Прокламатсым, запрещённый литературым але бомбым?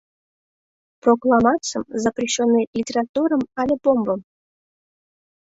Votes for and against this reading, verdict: 2, 1, accepted